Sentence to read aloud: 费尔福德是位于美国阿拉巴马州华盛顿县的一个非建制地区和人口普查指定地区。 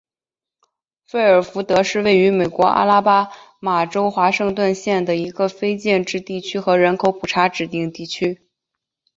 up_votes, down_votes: 3, 0